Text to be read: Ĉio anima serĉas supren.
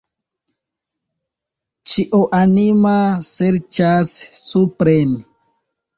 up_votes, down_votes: 0, 2